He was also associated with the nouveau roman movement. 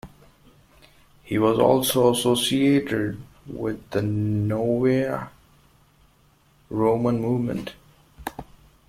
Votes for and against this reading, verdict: 0, 2, rejected